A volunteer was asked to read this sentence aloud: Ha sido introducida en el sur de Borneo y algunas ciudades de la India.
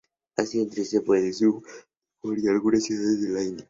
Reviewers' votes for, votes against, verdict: 0, 2, rejected